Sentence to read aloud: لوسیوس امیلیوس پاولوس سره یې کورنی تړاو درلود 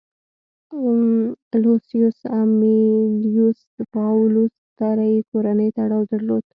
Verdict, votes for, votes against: rejected, 1, 2